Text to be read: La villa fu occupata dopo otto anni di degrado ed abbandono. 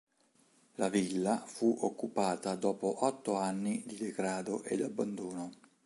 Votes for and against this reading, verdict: 3, 0, accepted